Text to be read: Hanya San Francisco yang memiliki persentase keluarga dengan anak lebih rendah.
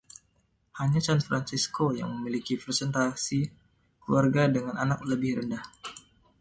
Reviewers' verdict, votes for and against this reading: rejected, 0, 2